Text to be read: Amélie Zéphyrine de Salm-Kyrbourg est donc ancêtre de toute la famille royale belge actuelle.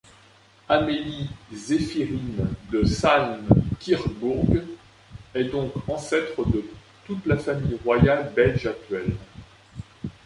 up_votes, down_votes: 0, 2